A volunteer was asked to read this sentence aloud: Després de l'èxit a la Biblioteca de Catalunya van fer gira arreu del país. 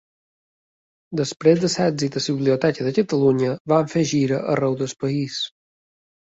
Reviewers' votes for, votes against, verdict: 2, 1, accepted